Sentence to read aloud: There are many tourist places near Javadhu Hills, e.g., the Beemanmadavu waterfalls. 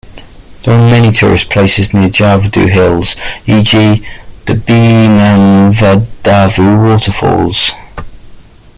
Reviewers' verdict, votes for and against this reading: rejected, 0, 2